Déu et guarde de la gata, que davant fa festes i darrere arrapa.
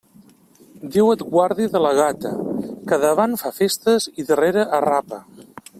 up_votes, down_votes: 1, 2